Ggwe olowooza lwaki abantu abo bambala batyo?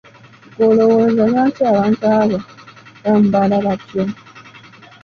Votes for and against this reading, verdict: 1, 2, rejected